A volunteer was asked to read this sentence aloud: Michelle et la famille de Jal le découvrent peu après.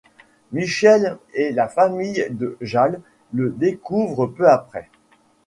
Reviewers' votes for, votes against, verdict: 2, 0, accepted